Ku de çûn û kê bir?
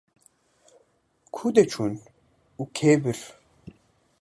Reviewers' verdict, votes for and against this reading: accepted, 2, 0